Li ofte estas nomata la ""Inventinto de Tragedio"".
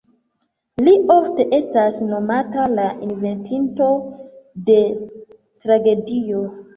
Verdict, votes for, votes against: rejected, 0, 2